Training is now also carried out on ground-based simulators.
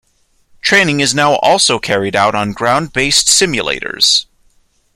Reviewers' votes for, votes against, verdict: 2, 0, accepted